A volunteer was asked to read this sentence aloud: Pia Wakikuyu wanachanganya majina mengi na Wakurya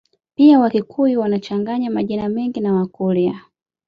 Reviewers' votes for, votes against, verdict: 2, 0, accepted